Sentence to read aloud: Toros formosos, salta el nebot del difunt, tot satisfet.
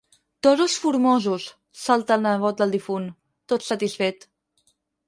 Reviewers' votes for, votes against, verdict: 0, 4, rejected